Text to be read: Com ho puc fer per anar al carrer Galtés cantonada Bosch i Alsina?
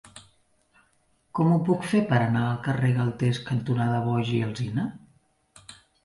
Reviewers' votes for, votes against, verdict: 0, 2, rejected